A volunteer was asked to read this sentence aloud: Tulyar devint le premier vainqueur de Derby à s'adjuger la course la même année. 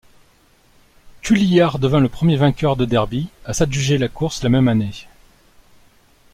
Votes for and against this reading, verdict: 2, 0, accepted